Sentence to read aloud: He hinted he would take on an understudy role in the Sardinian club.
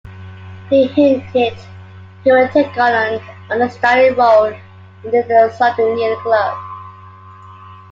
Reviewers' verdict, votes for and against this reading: rejected, 1, 2